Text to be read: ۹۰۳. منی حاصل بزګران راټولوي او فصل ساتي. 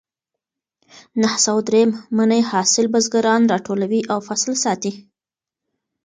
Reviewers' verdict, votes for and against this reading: rejected, 0, 2